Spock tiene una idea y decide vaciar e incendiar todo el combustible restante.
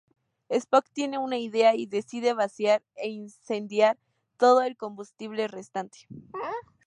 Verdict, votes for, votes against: accepted, 2, 0